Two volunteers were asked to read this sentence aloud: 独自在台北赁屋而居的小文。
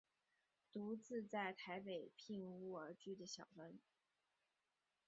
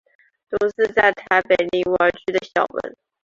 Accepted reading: first